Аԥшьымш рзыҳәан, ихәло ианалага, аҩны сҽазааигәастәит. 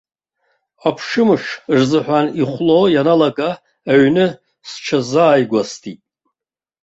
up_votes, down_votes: 2, 0